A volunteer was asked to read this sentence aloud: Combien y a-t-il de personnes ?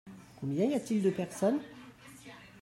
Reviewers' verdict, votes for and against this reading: accepted, 2, 0